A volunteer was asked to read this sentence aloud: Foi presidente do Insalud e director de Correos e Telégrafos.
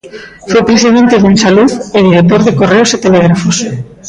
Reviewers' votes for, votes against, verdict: 1, 2, rejected